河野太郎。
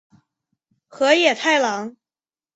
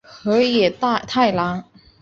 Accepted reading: first